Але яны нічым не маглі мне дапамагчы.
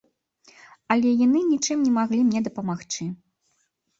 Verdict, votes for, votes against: accepted, 2, 1